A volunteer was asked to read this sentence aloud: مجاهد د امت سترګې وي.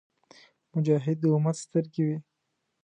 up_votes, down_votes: 3, 0